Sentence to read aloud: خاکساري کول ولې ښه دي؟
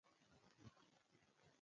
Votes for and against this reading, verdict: 2, 1, accepted